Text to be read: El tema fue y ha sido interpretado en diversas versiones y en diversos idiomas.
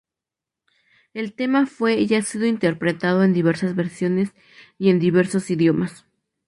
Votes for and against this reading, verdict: 2, 0, accepted